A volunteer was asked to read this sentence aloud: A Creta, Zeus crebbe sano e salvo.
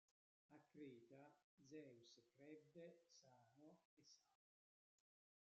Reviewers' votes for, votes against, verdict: 0, 2, rejected